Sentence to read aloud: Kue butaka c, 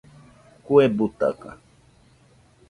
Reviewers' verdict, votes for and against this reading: rejected, 0, 2